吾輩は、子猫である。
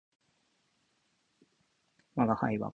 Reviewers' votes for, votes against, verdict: 8, 31, rejected